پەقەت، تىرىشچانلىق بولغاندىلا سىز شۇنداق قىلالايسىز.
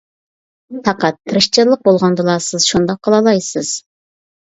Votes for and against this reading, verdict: 2, 0, accepted